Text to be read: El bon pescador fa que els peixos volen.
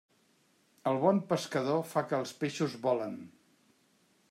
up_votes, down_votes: 1, 2